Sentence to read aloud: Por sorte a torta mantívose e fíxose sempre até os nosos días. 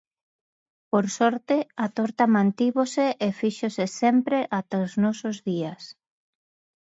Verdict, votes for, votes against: rejected, 0, 2